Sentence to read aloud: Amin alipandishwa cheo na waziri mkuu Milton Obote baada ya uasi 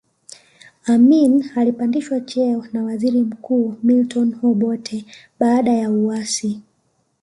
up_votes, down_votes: 1, 2